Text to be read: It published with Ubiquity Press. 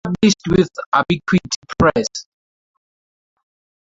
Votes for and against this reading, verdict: 0, 2, rejected